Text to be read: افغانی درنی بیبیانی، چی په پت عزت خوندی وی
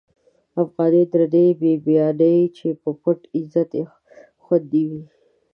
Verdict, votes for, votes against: rejected, 1, 2